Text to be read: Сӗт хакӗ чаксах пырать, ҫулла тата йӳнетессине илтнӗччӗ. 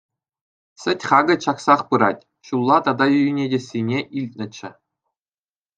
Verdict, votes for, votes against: accepted, 2, 0